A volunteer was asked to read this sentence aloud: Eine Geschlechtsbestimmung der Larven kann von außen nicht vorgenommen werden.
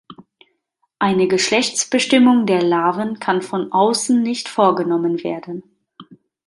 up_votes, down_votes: 1, 2